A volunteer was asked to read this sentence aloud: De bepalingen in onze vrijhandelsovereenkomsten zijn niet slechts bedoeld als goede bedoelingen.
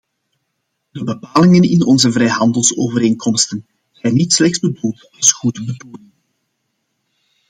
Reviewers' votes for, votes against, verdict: 0, 2, rejected